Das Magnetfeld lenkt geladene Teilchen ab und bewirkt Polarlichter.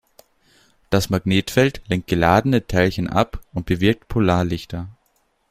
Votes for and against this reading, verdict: 2, 0, accepted